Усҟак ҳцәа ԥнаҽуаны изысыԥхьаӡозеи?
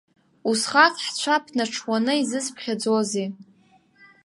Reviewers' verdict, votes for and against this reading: accepted, 2, 0